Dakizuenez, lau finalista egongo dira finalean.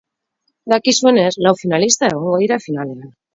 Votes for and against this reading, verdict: 4, 0, accepted